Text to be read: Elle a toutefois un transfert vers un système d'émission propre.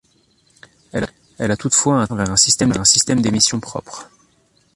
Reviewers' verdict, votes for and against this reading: rejected, 0, 2